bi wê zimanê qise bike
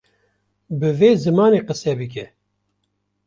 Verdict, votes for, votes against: rejected, 0, 2